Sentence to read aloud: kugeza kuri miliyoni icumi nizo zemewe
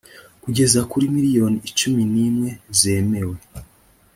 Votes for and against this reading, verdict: 2, 3, rejected